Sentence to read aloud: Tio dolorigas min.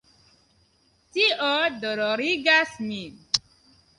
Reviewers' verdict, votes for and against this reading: accepted, 2, 1